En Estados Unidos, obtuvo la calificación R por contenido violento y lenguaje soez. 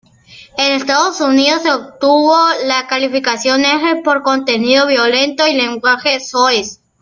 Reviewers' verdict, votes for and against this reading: rejected, 1, 2